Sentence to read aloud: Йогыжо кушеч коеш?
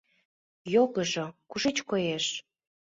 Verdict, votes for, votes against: accepted, 2, 0